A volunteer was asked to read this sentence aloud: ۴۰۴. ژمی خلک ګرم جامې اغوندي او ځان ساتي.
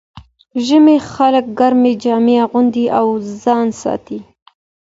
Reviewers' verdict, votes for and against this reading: rejected, 0, 2